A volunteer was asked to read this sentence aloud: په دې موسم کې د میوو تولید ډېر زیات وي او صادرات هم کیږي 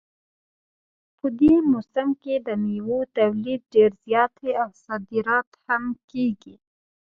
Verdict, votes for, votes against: rejected, 0, 2